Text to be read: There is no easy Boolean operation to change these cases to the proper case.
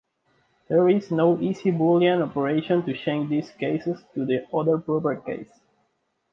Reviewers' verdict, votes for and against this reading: accepted, 2, 1